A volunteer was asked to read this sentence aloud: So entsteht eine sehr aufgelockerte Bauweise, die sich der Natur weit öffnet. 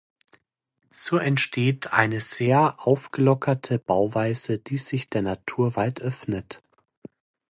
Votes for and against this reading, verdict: 2, 0, accepted